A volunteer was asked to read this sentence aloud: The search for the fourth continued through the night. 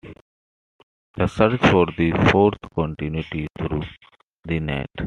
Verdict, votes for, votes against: rejected, 1, 2